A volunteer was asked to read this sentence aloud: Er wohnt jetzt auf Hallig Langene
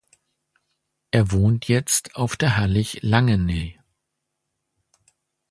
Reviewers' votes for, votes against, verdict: 0, 2, rejected